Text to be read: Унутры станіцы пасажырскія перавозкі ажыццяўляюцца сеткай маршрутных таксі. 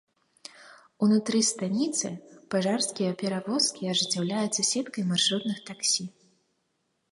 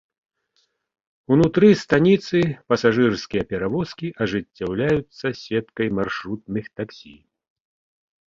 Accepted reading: second